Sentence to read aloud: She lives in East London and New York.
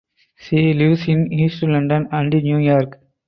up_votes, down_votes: 2, 2